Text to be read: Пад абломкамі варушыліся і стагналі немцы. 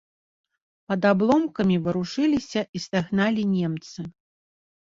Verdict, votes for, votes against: accepted, 2, 0